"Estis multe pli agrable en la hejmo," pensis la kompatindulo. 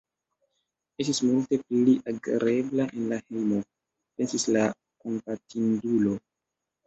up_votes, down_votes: 2, 1